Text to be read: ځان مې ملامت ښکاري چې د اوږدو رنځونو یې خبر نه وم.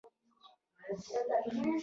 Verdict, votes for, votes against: accepted, 2, 1